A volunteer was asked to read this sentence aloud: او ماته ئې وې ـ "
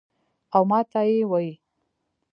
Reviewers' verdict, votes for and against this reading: rejected, 1, 2